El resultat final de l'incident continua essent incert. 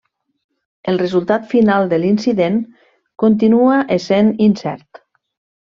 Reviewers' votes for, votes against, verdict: 3, 0, accepted